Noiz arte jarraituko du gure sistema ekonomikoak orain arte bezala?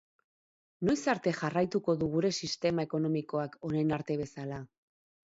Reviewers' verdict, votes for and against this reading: accepted, 6, 0